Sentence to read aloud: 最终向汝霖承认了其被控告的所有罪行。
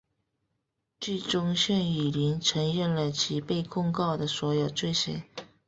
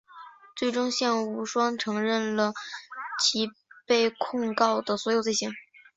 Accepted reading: first